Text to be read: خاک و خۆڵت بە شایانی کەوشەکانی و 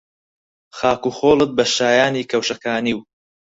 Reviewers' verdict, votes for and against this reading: accepted, 4, 0